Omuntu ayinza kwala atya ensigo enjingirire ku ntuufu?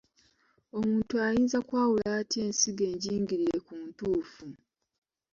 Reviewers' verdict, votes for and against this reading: accepted, 2, 0